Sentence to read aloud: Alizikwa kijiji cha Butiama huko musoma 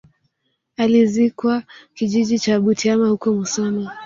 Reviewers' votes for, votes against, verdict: 2, 0, accepted